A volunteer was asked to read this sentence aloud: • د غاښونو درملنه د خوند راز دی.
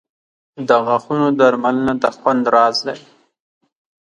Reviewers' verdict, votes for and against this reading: accepted, 4, 0